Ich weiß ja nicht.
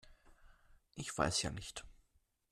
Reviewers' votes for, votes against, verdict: 2, 0, accepted